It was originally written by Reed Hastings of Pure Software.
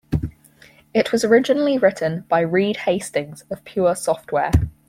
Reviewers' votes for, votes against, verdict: 4, 0, accepted